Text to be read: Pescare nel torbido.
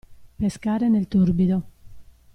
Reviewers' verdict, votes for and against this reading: accepted, 2, 0